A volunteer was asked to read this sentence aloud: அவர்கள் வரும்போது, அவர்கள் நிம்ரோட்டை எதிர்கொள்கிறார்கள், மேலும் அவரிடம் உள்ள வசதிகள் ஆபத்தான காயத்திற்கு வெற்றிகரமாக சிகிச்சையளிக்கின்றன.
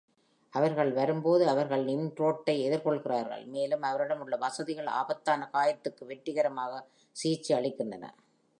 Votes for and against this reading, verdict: 2, 0, accepted